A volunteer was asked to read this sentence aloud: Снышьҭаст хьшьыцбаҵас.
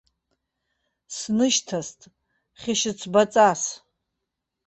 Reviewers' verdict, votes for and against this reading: rejected, 0, 2